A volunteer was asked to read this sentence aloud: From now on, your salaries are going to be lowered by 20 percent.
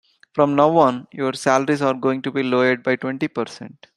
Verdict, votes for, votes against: rejected, 0, 2